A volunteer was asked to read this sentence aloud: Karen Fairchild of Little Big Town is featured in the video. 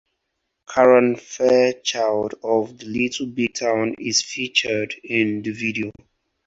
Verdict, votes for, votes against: accepted, 2, 0